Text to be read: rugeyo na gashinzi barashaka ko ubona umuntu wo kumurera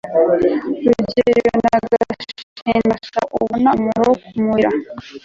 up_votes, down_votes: 1, 2